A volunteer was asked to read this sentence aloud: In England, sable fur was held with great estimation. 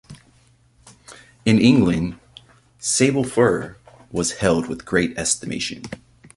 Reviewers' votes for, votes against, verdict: 2, 0, accepted